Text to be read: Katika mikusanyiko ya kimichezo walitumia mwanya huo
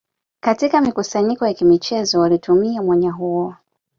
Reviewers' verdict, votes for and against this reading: accepted, 2, 1